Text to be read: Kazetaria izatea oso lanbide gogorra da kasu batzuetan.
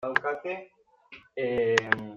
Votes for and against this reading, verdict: 0, 4, rejected